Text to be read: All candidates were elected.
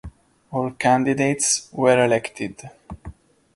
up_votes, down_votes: 2, 0